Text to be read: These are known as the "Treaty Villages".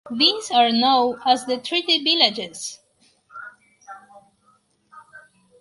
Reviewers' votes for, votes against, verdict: 2, 4, rejected